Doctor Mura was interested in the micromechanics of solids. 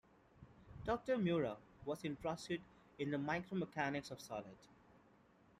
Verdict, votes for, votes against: accepted, 2, 1